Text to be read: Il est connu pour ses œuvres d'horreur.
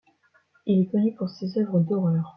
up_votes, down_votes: 2, 0